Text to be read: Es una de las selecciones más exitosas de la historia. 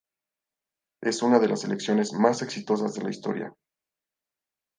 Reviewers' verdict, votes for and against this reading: accepted, 4, 0